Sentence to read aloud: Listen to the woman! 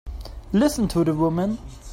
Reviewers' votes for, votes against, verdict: 2, 0, accepted